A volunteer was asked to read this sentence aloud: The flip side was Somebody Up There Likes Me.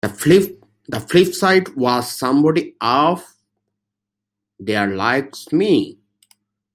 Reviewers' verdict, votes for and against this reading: rejected, 0, 2